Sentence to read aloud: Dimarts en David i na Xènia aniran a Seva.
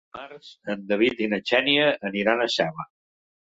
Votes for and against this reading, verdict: 0, 2, rejected